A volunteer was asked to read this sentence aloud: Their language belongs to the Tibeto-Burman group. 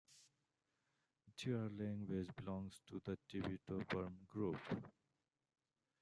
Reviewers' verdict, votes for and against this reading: rejected, 0, 2